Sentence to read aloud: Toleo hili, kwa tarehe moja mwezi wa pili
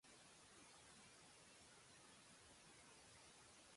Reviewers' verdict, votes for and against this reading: rejected, 0, 2